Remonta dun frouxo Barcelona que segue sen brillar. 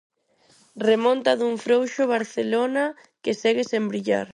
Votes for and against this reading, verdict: 4, 0, accepted